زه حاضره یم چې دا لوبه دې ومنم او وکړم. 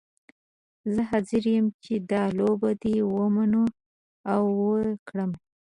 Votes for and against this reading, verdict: 2, 0, accepted